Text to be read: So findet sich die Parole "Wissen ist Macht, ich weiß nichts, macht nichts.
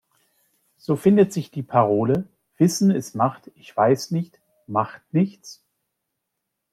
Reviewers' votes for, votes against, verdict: 0, 2, rejected